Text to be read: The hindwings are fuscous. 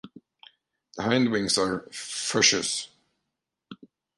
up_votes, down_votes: 1, 2